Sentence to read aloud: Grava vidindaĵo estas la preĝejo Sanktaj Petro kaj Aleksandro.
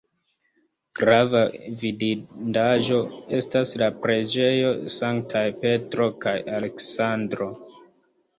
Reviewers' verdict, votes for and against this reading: rejected, 1, 2